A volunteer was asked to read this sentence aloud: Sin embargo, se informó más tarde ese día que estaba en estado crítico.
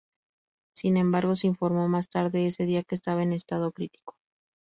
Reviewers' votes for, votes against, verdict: 2, 0, accepted